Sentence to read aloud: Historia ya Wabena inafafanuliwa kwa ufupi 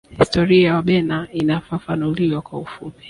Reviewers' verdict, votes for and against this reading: rejected, 1, 2